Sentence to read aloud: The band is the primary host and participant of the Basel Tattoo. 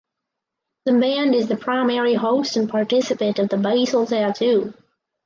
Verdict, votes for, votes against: rejected, 2, 2